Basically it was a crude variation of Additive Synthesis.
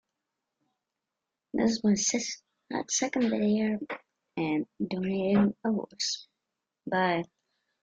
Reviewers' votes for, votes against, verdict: 0, 2, rejected